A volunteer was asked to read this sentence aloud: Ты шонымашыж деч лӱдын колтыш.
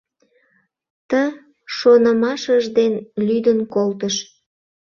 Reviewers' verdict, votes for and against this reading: rejected, 0, 2